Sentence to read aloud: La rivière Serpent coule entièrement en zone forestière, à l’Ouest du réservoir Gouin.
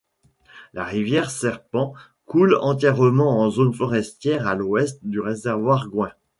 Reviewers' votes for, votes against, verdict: 2, 1, accepted